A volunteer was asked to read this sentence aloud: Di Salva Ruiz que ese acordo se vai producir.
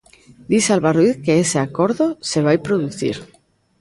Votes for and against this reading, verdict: 2, 0, accepted